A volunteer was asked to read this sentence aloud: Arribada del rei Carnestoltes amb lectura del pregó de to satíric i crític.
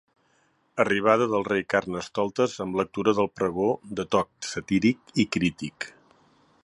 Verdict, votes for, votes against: accepted, 2, 1